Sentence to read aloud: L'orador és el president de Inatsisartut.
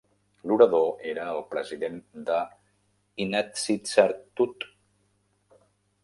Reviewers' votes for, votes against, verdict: 0, 2, rejected